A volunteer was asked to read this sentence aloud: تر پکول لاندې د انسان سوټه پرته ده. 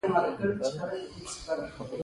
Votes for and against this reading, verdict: 2, 0, accepted